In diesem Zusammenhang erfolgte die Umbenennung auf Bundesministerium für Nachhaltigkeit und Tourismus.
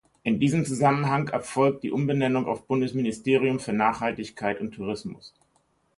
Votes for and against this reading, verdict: 0, 2, rejected